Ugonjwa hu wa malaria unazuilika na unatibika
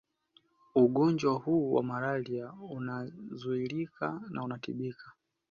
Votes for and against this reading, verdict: 2, 0, accepted